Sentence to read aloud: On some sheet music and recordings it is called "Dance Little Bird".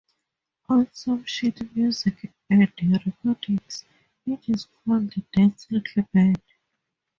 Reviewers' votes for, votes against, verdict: 2, 0, accepted